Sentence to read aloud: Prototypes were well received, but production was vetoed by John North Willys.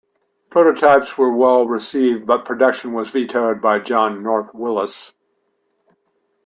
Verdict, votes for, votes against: accepted, 2, 0